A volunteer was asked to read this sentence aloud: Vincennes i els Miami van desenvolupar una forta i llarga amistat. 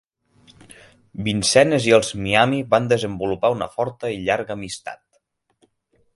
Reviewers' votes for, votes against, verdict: 3, 6, rejected